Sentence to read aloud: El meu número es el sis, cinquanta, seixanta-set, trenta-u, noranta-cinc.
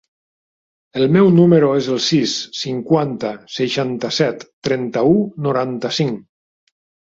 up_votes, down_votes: 2, 0